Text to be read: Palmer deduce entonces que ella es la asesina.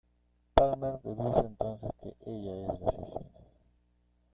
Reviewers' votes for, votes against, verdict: 0, 2, rejected